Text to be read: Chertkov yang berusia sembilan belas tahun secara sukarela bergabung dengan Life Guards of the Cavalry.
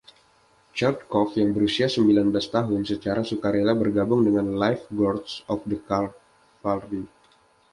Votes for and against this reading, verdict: 2, 0, accepted